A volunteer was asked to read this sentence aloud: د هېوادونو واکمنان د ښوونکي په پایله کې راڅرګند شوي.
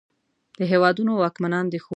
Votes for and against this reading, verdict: 1, 2, rejected